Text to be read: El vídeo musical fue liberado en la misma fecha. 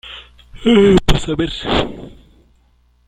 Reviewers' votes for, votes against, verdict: 0, 2, rejected